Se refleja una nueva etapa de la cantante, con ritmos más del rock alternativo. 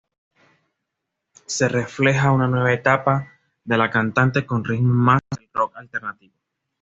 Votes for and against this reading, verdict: 1, 2, rejected